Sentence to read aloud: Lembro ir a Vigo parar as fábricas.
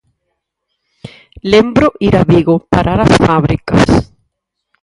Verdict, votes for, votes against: rejected, 2, 4